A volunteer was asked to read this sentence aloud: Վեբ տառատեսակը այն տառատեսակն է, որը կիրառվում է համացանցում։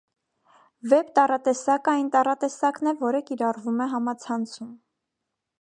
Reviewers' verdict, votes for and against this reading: accepted, 2, 0